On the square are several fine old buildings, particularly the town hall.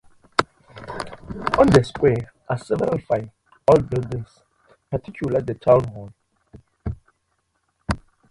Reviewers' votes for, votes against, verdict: 2, 4, rejected